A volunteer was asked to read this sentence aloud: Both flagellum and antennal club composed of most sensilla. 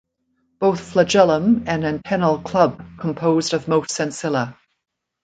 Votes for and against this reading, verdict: 2, 0, accepted